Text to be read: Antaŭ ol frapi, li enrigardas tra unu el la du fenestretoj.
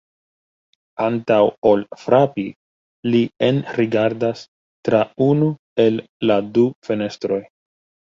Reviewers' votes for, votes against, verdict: 0, 2, rejected